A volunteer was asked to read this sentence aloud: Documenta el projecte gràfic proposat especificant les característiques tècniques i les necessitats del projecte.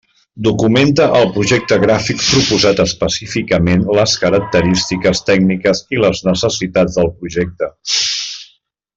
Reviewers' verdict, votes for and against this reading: rejected, 0, 2